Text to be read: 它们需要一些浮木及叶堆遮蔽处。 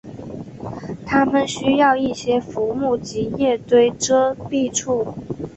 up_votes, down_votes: 2, 0